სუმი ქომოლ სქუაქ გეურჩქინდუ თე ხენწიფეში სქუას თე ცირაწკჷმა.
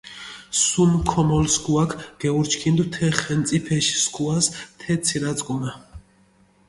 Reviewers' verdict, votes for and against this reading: rejected, 1, 2